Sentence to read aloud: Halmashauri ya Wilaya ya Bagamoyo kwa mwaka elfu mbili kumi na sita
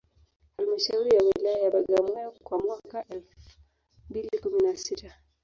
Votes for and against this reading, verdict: 1, 2, rejected